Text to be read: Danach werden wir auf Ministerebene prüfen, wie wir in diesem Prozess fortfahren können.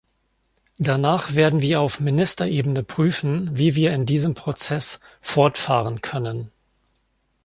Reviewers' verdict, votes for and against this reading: accepted, 2, 0